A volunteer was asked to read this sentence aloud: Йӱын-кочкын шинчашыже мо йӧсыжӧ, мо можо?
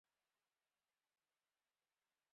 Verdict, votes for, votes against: rejected, 1, 2